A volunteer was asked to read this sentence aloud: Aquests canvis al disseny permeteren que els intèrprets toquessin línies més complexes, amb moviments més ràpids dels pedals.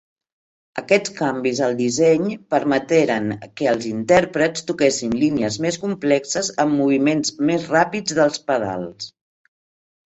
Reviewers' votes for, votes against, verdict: 1, 2, rejected